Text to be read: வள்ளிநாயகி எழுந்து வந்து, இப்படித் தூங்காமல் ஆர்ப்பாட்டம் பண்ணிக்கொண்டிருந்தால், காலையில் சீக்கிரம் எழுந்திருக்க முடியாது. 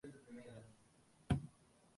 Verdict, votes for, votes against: rejected, 0, 2